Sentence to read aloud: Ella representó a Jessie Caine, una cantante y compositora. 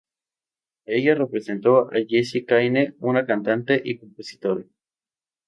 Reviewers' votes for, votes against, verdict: 0, 2, rejected